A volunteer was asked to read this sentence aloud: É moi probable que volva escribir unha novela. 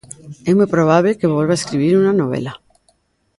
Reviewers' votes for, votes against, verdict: 1, 2, rejected